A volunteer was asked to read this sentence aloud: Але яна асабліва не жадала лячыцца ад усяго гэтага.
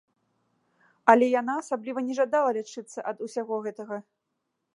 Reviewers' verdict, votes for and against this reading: accepted, 2, 0